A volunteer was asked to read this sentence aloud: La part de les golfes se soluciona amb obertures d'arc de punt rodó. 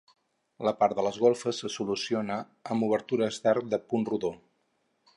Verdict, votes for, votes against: accepted, 6, 0